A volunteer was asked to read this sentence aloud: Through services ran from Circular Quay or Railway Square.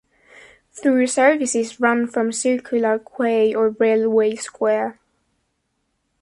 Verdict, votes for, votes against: rejected, 0, 2